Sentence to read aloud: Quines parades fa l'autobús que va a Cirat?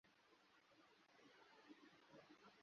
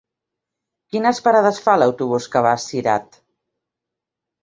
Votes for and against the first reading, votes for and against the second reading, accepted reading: 0, 2, 2, 0, second